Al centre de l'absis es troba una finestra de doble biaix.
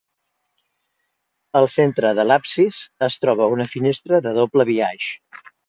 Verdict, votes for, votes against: accepted, 2, 0